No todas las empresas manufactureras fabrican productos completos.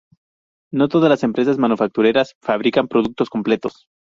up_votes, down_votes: 2, 0